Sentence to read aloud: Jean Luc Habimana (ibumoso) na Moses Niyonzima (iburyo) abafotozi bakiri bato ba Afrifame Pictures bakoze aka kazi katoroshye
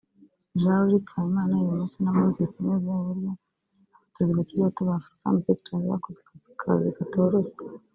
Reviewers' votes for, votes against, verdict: 1, 2, rejected